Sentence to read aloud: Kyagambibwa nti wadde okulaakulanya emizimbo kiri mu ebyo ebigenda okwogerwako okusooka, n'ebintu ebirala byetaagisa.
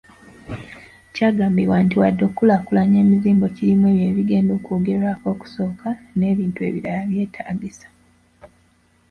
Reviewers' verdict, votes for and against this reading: rejected, 1, 2